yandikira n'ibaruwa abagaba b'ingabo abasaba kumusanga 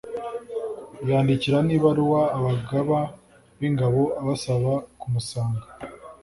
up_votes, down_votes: 2, 0